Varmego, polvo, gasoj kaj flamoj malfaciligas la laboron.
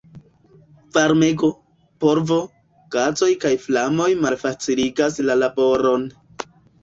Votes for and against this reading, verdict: 0, 2, rejected